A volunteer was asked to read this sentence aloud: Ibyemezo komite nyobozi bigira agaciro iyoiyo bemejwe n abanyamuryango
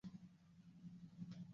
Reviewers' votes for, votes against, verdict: 0, 2, rejected